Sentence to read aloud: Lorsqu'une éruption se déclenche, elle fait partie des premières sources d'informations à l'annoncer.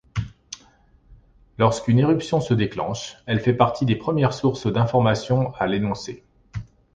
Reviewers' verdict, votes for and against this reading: rejected, 1, 2